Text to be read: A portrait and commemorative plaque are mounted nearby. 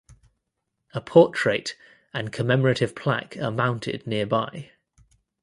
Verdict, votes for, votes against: accepted, 2, 0